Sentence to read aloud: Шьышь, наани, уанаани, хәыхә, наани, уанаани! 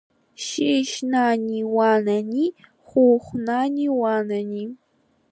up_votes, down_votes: 2, 0